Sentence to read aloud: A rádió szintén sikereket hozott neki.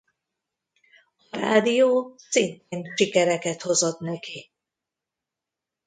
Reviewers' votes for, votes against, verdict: 1, 2, rejected